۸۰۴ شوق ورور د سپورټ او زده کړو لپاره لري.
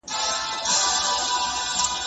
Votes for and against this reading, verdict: 0, 2, rejected